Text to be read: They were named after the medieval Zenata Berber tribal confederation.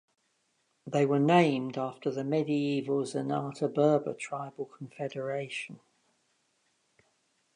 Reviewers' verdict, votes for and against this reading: accepted, 2, 0